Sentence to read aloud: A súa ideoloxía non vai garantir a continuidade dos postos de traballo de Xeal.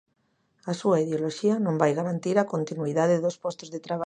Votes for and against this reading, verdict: 0, 2, rejected